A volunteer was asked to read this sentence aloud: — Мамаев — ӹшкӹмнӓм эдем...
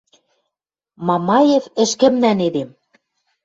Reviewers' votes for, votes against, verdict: 1, 2, rejected